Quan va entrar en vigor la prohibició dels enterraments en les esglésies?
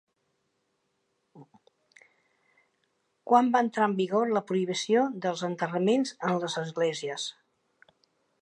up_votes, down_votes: 0, 2